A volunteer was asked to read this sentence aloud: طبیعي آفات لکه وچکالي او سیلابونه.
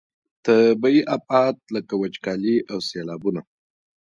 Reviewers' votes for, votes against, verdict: 0, 2, rejected